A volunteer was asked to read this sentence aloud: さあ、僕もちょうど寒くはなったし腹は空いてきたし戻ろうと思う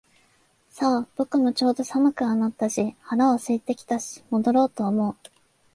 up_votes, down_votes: 3, 0